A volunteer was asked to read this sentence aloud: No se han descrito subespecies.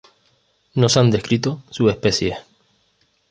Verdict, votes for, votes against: rejected, 1, 2